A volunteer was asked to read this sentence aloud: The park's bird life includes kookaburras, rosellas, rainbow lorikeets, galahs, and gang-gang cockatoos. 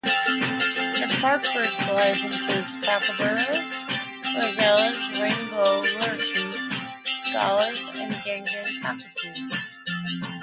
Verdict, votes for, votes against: rejected, 0, 2